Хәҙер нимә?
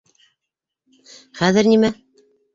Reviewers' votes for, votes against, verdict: 1, 2, rejected